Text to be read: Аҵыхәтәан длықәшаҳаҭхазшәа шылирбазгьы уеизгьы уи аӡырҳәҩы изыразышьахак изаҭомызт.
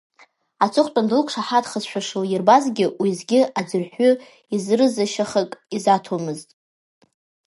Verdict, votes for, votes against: rejected, 0, 2